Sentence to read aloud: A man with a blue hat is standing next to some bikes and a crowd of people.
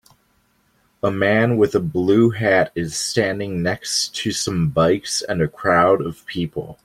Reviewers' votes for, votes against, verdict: 2, 1, accepted